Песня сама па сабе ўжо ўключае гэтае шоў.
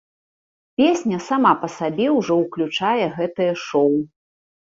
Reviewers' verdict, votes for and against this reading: accepted, 2, 1